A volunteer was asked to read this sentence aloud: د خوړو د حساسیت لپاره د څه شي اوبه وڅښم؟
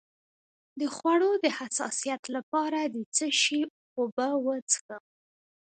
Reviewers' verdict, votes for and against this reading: accepted, 2, 0